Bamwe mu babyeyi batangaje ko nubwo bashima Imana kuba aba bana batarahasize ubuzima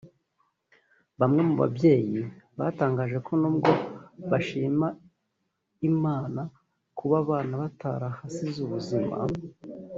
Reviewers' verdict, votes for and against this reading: rejected, 1, 2